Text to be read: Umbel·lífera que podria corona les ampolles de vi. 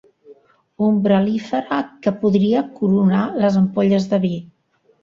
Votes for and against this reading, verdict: 1, 2, rejected